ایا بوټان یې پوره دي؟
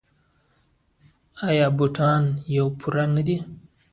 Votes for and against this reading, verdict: 0, 2, rejected